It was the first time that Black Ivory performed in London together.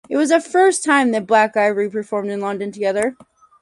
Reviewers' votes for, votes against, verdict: 4, 0, accepted